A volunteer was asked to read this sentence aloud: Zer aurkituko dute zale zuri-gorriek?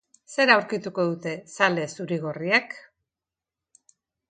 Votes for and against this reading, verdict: 2, 0, accepted